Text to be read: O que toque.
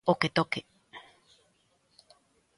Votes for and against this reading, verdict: 3, 0, accepted